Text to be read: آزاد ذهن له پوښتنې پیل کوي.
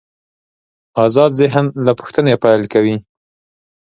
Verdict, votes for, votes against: accepted, 2, 0